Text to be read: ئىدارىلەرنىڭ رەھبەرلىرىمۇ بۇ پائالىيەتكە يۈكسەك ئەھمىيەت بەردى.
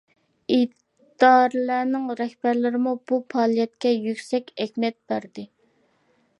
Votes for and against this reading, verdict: 0, 2, rejected